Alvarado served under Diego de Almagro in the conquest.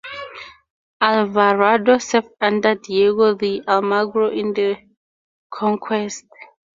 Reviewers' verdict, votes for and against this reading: accepted, 2, 0